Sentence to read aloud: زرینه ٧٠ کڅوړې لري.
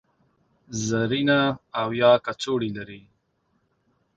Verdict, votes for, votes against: rejected, 0, 2